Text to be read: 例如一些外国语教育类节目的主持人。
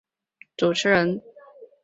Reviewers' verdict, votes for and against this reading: rejected, 0, 4